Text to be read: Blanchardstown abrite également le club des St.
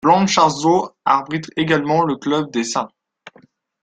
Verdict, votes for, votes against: rejected, 2, 3